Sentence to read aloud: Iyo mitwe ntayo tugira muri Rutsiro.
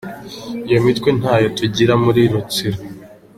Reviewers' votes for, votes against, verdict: 2, 0, accepted